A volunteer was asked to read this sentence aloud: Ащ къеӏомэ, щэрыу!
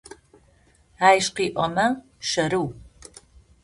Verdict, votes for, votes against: accepted, 2, 0